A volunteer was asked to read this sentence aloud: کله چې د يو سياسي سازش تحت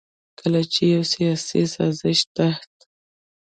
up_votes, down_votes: 1, 2